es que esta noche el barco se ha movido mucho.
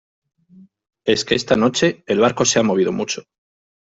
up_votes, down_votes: 2, 0